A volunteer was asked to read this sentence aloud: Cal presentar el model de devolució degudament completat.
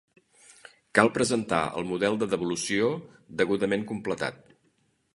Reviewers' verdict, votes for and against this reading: accepted, 2, 0